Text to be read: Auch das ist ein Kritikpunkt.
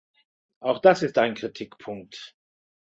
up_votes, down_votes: 2, 0